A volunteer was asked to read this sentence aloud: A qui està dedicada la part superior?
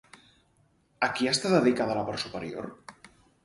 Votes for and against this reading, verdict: 4, 0, accepted